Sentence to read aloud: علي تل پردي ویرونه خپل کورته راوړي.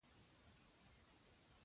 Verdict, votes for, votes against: rejected, 1, 2